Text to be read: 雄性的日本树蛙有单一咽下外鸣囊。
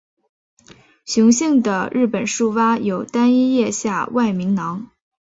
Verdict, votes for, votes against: accepted, 2, 1